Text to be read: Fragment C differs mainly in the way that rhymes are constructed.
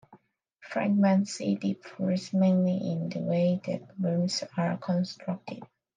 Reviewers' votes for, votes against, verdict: 1, 2, rejected